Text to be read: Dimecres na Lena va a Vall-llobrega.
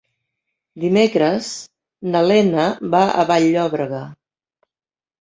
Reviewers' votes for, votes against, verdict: 0, 2, rejected